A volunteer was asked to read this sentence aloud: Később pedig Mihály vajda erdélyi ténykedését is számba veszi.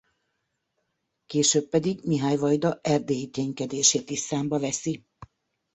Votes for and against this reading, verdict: 3, 0, accepted